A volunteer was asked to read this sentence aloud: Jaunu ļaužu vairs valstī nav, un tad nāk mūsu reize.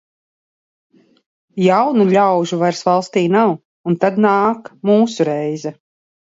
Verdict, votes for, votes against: accepted, 2, 0